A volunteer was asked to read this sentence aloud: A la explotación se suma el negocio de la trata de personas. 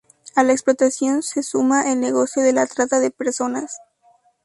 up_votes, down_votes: 2, 0